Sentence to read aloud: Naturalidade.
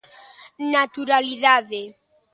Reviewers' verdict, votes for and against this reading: accepted, 2, 0